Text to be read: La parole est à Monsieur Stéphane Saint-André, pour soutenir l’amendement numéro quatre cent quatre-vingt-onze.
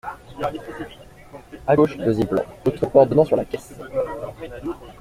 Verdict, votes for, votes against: rejected, 0, 2